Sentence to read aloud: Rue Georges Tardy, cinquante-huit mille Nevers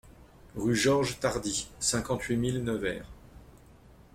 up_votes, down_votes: 2, 0